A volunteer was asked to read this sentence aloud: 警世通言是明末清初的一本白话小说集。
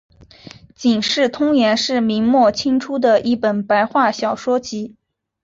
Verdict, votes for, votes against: accepted, 2, 0